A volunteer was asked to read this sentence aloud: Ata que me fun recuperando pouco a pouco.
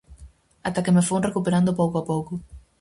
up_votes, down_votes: 4, 0